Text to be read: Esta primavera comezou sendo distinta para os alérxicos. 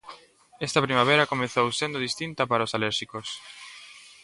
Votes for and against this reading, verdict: 2, 0, accepted